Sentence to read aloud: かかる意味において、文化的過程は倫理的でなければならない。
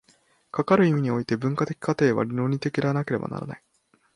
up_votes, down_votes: 2, 3